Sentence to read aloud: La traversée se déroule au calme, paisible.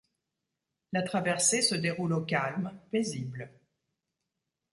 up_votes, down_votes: 2, 0